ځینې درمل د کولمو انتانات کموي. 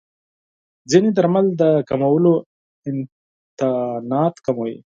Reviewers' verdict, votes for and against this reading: rejected, 2, 4